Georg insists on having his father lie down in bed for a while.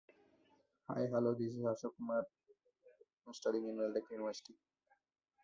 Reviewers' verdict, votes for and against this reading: rejected, 0, 2